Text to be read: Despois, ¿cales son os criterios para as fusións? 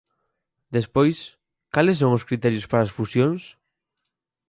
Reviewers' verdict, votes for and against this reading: accepted, 4, 0